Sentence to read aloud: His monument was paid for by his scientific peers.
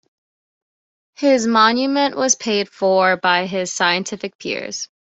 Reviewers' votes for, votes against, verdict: 2, 0, accepted